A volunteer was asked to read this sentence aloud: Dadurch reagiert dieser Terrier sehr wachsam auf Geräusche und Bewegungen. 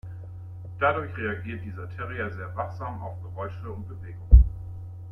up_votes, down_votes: 2, 0